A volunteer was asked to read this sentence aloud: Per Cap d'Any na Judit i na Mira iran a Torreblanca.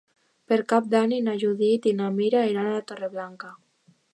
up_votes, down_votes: 1, 2